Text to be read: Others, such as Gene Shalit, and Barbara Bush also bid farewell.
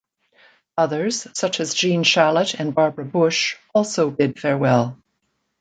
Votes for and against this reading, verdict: 2, 0, accepted